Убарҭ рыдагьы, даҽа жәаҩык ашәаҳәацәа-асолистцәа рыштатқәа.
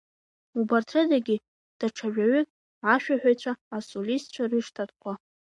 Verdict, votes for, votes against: accepted, 2, 1